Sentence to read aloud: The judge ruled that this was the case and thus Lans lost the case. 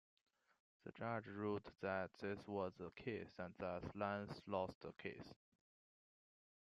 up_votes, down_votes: 0, 2